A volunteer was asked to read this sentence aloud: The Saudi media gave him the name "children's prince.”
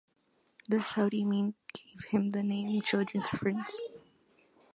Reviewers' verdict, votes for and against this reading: rejected, 1, 2